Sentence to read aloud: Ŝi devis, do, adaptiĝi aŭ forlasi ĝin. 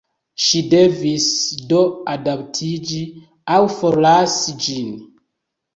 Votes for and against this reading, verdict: 2, 0, accepted